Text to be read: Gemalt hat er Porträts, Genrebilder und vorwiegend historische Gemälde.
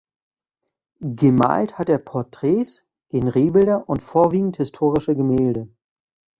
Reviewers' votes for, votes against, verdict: 1, 2, rejected